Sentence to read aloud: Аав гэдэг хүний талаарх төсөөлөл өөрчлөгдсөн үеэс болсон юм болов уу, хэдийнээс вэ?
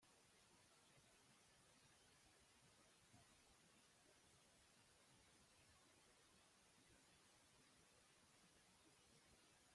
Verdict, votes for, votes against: rejected, 0, 2